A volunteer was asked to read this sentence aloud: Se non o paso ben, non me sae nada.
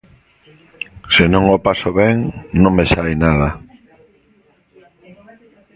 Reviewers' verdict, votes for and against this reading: accepted, 2, 0